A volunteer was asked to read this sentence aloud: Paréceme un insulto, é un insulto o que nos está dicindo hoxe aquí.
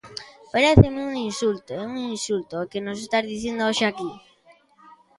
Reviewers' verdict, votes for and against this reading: accepted, 2, 0